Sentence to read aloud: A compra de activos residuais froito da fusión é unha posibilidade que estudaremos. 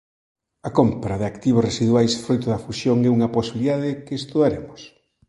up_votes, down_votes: 1, 2